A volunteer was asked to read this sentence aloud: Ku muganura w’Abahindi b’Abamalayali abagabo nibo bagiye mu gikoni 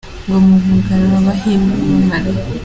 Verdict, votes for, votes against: rejected, 0, 2